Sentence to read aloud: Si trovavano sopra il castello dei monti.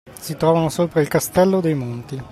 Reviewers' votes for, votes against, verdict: 2, 1, accepted